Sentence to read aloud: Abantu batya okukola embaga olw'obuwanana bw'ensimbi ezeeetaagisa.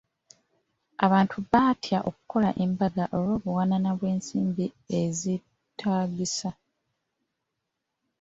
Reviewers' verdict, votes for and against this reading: rejected, 1, 2